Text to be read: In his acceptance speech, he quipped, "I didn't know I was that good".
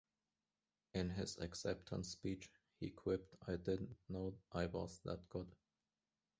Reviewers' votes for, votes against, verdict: 1, 2, rejected